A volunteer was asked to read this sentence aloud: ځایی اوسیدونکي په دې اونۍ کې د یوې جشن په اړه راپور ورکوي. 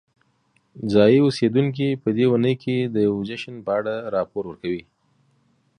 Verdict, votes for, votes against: accepted, 2, 0